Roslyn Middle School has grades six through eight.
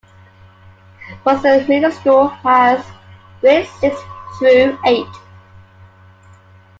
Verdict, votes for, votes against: rejected, 1, 2